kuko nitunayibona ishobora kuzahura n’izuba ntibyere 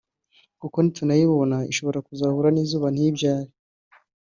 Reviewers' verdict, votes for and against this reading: rejected, 0, 2